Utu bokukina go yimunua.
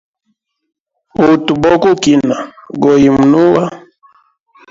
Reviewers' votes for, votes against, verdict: 0, 2, rejected